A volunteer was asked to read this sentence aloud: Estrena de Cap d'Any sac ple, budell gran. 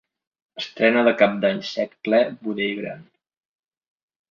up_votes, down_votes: 0, 3